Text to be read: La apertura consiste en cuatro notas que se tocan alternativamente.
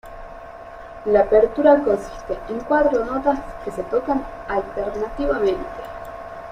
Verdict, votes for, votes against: accepted, 2, 0